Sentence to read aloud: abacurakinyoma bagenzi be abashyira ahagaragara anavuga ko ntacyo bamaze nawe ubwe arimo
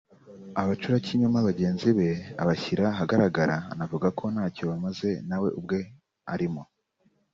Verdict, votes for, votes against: accepted, 3, 0